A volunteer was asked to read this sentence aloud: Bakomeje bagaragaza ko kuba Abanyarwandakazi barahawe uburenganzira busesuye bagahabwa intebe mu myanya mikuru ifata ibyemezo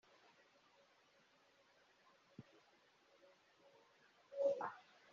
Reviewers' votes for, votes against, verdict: 0, 2, rejected